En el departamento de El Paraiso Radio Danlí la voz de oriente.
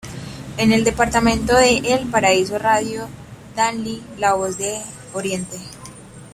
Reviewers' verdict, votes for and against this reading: accepted, 2, 0